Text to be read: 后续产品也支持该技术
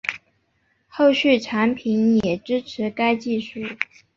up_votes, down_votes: 1, 2